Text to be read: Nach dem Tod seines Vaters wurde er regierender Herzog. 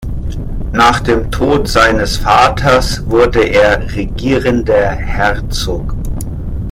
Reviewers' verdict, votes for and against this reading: rejected, 0, 2